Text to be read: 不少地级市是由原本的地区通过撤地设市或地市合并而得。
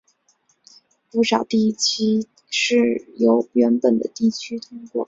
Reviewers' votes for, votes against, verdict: 5, 3, accepted